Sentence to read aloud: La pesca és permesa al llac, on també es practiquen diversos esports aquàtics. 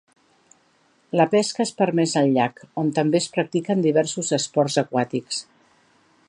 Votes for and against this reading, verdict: 2, 0, accepted